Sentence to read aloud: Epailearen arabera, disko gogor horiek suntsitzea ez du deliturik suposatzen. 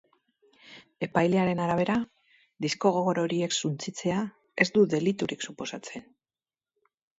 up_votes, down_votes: 2, 0